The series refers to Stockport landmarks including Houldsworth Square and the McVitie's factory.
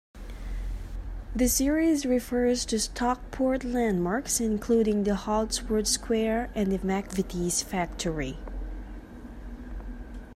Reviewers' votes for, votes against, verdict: 1, 2, rejected